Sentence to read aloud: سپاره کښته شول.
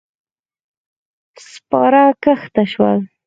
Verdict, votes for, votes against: accepted, 4, 0